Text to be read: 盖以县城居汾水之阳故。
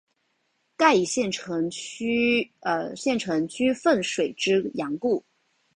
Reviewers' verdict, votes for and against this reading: rejected, 1, 2